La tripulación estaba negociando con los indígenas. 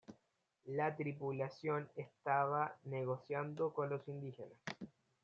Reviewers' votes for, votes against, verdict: 1, 2, rejected